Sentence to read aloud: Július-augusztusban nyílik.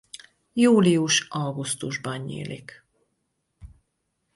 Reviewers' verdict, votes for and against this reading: accepted, 4, 0